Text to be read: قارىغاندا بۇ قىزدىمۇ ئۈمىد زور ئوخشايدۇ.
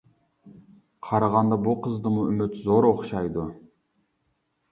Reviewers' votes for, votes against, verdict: 3, 0, accepted